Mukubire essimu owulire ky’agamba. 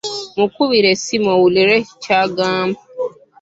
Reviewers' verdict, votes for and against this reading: rejected, 0, 2